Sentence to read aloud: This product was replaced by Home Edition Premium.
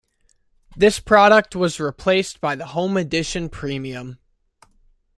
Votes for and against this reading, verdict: 1, 2, rejected